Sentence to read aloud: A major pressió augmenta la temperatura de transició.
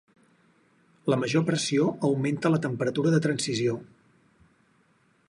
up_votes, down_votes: 2, 4